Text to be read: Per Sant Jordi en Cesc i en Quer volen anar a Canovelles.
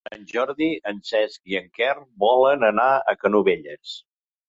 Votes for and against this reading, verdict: 1, 3, rejected